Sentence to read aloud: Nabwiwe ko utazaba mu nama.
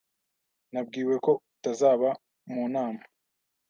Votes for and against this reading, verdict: 2, 0, accepted